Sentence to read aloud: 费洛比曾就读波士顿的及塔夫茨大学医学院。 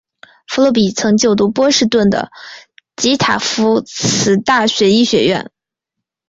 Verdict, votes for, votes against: accepted, 2, 0